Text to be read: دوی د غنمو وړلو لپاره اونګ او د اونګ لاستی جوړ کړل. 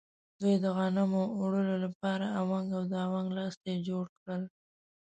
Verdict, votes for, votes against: rejected, 1, 2